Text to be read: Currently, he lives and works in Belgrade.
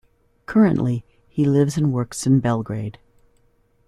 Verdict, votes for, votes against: accepted, 2, 0